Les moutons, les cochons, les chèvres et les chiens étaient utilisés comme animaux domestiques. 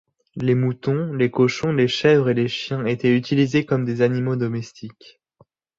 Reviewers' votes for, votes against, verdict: 0, 2, rejected